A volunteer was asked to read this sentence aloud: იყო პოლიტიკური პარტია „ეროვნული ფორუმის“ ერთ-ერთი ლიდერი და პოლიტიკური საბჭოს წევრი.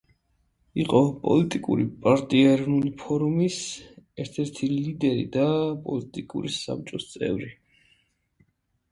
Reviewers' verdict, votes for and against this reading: accepted, 2, 0